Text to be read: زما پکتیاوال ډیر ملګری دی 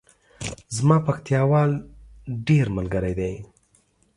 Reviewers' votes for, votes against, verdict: 2, 0, accepted